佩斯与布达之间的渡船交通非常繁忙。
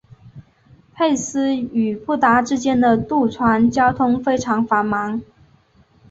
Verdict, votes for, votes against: accepted, 2, 1